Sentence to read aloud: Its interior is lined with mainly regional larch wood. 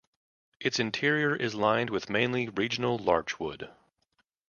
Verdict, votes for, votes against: accepted, 2, 0